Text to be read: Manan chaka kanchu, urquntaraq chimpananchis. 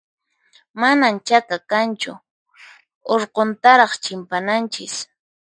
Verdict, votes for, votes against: accepted, 4, 0